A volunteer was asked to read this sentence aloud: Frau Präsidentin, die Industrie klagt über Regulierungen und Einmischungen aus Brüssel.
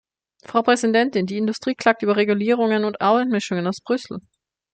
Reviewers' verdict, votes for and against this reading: rejected, 1, 2